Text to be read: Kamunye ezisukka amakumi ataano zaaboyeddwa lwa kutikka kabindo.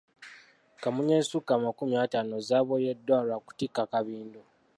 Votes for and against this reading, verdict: 2, 0, accepted